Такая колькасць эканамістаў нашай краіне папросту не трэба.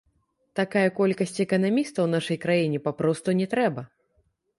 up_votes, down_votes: 0, 2